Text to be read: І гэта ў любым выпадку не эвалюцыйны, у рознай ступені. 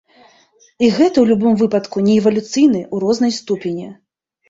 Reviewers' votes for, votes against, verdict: 2, 3, rejected